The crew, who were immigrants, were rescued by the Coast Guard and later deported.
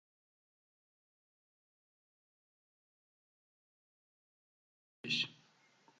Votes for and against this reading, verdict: 0, 2, rejected